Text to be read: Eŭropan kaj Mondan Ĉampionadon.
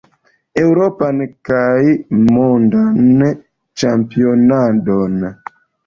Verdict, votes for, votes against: accepted, 2, 0